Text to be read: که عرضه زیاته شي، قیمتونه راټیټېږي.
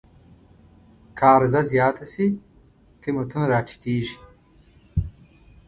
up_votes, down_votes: 2, 0